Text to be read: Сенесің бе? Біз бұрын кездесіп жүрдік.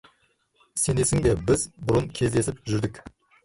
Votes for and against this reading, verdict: 1, 2, rejected